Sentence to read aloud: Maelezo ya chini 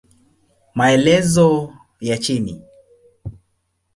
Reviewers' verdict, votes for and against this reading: accepted, 2, 1